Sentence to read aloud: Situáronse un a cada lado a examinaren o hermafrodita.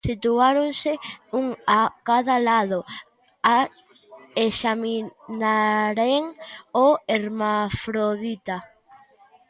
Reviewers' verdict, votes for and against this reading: rejected, 0, 2